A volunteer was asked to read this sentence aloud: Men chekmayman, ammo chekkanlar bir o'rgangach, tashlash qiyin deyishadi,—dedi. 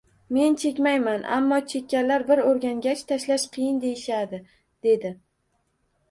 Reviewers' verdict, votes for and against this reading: rejected, 1, 2